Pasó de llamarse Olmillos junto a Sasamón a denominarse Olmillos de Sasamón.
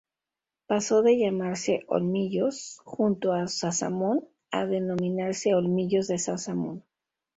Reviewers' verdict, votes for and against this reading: accepted, 2, 0